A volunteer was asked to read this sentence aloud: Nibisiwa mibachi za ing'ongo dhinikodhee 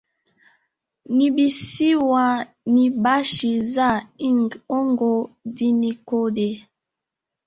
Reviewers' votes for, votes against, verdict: 3, 2, accepted